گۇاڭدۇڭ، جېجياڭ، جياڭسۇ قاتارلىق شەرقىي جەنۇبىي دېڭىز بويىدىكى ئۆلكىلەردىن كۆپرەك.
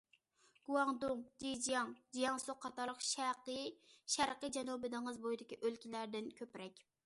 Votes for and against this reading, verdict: 0, 2, rejected